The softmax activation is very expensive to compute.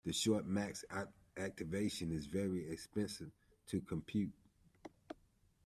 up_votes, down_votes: 0, 2